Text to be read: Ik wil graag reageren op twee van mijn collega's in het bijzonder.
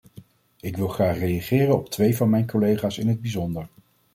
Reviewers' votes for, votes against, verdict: 2, 0, accepted